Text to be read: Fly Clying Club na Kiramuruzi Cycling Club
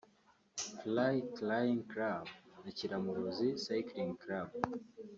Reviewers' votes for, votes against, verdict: 2, 0, accepted